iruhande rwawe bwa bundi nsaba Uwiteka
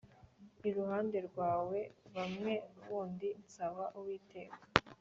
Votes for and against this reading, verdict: 2, 0, accepted